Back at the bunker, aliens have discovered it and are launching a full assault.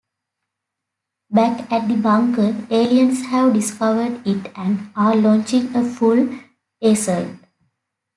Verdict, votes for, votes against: accepted, 2, 0